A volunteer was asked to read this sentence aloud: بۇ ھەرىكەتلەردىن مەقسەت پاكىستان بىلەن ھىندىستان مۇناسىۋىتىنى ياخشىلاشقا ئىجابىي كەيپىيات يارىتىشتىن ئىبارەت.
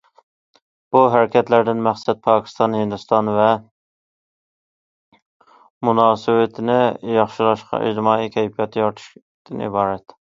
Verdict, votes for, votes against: rejected, 0, 2